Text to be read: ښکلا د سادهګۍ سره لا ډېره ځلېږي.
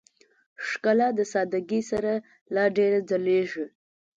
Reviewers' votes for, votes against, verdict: 2, 0, accepted